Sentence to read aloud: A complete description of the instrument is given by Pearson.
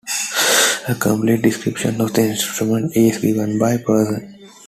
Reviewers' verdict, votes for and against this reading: rejected, 1, 2